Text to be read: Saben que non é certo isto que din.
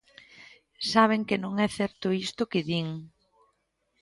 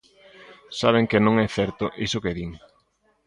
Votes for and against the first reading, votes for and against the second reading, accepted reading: 2, 0, 0, 2, first